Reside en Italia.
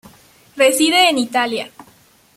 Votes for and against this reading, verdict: 2, 0, accepted